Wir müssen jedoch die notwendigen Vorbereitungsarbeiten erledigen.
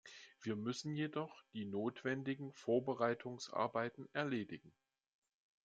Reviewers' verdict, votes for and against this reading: accepted, 2, 0